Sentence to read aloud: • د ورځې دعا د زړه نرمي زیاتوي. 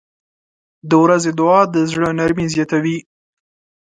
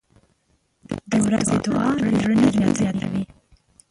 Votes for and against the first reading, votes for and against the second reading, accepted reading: 2, 0, 0, 2, first